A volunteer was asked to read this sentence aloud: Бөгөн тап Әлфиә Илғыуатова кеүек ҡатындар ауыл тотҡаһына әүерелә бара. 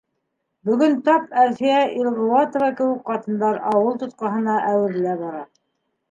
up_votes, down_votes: 2, 0